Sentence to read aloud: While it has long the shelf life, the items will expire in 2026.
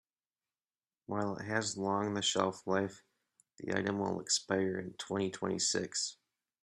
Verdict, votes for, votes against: rejected, 0, 2